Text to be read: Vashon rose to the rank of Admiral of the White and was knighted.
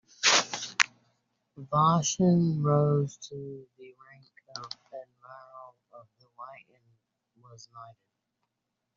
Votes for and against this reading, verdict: 0, 2, rejected